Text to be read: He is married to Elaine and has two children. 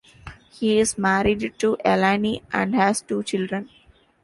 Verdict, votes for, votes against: rejected, 0, 2